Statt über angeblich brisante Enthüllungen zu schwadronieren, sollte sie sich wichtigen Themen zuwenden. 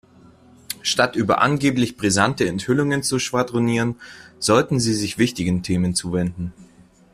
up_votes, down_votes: 2, 1